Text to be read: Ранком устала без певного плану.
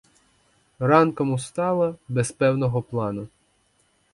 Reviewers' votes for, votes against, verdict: 4, 0, accepted